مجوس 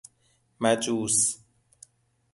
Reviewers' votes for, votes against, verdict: 2, 0, accepted